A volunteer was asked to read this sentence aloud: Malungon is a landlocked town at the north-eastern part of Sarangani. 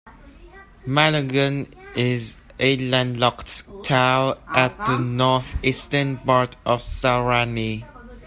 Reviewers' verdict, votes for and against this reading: rejected, 1, 2